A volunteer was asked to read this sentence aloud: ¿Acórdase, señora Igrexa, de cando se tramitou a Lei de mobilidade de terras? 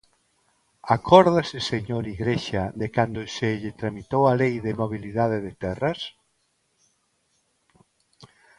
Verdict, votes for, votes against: rejected, 1, 2